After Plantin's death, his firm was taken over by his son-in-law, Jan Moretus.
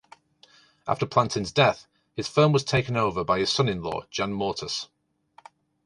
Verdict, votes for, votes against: accepted, 2, 0